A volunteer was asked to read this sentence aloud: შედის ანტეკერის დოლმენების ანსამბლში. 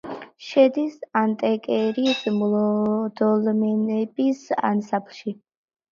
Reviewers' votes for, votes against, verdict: 1, 2, rejected